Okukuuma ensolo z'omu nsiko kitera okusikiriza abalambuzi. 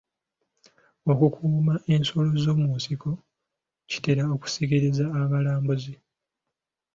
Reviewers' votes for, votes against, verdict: 0, 2, rejected